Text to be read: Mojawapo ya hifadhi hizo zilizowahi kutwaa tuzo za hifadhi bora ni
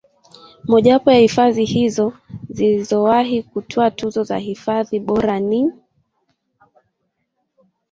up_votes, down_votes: 2, 0